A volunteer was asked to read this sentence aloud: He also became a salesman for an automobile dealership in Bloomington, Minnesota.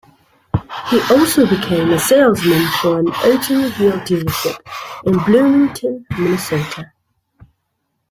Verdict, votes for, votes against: rejected, 1, 2